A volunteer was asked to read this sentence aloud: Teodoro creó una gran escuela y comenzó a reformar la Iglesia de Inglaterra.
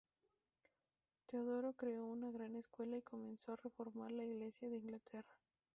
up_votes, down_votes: 0, 2